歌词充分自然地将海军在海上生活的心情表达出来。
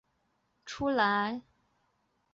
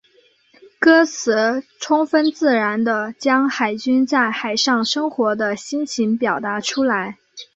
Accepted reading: second